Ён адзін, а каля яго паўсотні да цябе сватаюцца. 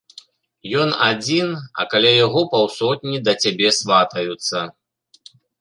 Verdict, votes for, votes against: accepted, 3, 0